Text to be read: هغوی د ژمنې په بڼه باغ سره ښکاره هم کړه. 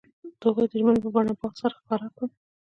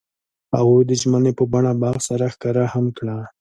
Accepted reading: second